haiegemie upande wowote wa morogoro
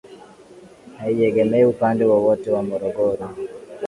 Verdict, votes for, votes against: rejected, 2, 2